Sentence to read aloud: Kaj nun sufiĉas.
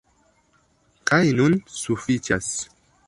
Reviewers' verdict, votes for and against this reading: rejected, 1, 2